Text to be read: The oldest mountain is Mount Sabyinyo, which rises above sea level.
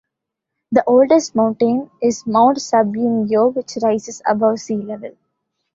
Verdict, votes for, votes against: rejected, 0, 2